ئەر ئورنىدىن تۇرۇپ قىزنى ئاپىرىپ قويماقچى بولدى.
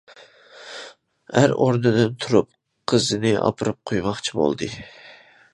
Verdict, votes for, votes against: rejected, 1, 2